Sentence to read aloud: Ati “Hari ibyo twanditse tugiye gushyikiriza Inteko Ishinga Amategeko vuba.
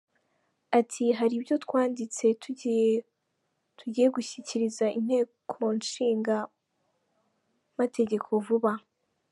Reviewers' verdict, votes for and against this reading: rejected, 1, 2